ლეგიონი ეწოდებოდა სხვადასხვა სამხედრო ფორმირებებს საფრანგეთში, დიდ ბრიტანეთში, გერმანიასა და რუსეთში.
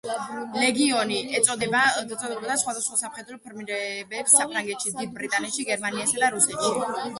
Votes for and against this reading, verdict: 1, 2, rejected